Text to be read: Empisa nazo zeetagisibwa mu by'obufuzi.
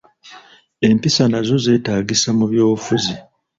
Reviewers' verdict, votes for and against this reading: rejected, 0, 2